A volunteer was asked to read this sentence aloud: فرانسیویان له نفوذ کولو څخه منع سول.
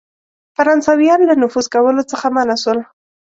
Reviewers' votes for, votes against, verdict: 2, 0, accepted